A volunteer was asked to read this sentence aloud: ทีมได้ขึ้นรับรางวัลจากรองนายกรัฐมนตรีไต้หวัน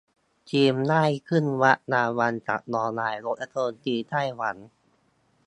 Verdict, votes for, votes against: rejected, 1, 2